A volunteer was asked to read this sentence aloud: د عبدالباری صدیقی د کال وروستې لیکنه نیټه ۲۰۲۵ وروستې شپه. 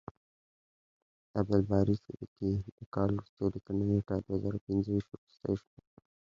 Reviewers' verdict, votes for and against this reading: rejected, 0, 2